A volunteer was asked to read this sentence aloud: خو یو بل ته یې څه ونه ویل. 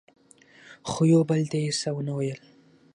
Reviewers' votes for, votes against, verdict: 6, 0, accepted